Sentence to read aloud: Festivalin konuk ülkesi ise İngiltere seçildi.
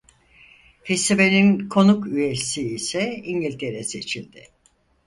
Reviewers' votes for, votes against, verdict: 2, 4, rejected